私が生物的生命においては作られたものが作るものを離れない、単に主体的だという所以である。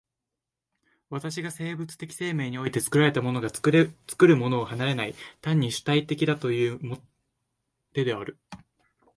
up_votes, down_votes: 1, 2